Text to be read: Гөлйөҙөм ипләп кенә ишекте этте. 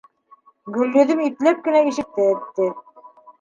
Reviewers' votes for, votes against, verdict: 2, 0, accepted